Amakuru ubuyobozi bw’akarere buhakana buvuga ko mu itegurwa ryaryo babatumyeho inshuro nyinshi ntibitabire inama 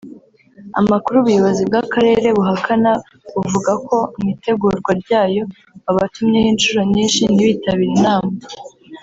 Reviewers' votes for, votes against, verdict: 3, 0, accepted